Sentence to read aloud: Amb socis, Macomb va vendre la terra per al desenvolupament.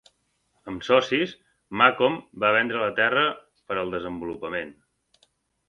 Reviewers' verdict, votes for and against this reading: accepted, 2, 0